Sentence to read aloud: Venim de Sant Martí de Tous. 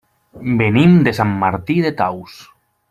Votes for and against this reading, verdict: 0, 2, rejected